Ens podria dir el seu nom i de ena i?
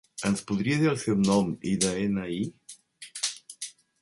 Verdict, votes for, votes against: rejected, 1, 2